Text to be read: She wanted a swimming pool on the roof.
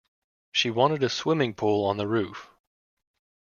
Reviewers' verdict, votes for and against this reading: accepted, 2, 0